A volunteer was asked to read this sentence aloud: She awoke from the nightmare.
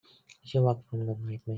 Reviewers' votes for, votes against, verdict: 0, 2, rejected